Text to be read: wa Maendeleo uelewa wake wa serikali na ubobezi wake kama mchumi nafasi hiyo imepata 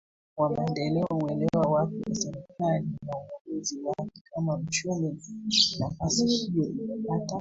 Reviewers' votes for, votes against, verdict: 1, 2, rejected